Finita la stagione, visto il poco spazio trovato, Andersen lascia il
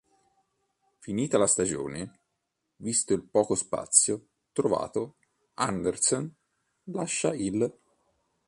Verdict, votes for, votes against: rejected, 1, 2